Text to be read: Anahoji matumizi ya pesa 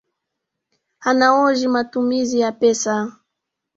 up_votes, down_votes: 0, 2